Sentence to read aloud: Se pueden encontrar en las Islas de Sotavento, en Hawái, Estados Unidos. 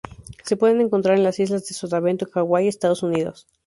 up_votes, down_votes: 0, 2